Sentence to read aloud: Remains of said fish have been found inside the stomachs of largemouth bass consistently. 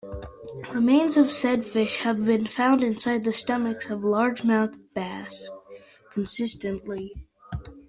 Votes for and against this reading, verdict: 1, 2, rejected